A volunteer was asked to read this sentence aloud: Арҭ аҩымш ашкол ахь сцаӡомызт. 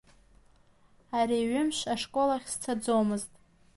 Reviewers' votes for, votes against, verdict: 0, 2, rejected